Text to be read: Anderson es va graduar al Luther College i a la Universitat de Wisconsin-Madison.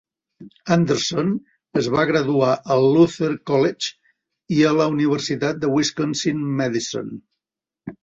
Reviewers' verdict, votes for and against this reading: accepted, 2, 0